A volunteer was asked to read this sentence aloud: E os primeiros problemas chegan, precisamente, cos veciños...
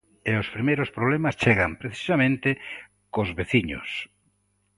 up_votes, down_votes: 2, 0